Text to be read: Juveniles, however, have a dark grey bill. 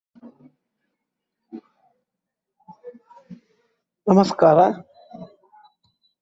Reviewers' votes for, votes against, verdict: 0, 2, rejected